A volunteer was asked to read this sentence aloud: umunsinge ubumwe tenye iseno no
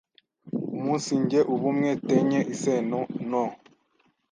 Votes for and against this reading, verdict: 1, 2, rejected